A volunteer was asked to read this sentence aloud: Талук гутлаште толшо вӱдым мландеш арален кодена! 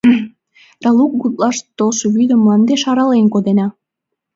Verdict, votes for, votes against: accepted, 3, 0